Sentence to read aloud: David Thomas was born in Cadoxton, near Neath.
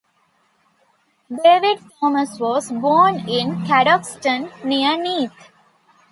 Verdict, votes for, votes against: accepted, 2, 0